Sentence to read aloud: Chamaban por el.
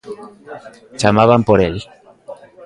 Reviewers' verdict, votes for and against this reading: rejected, 1, 2